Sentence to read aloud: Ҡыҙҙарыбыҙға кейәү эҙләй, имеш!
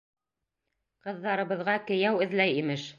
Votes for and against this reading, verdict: 2, 0, accepted